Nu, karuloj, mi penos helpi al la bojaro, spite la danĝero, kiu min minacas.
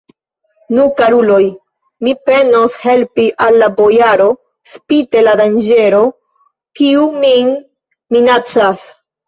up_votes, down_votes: 1, 2